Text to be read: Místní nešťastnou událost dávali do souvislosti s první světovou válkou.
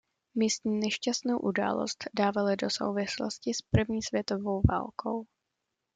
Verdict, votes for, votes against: accepted, 2, 0